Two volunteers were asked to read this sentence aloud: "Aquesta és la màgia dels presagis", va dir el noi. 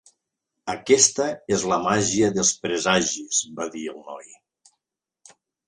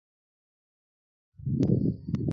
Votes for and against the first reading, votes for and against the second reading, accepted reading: 3, 0, 0, 3, first